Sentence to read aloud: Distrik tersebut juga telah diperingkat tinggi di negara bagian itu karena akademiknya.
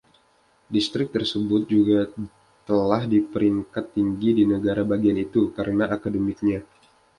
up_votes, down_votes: 1, 2